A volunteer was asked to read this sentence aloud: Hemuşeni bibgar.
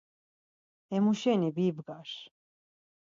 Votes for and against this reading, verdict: 4, 0, accepted